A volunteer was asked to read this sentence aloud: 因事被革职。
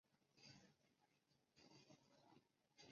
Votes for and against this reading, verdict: 0, 2, rejected